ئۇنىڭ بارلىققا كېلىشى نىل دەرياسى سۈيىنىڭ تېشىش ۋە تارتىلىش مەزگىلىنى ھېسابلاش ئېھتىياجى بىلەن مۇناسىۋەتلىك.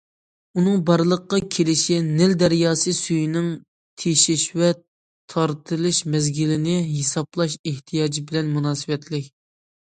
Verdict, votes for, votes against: accepted, 2, 0